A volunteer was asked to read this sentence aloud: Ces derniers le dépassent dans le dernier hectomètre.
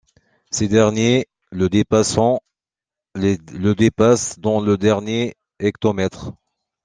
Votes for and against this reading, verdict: 1, 2, rejected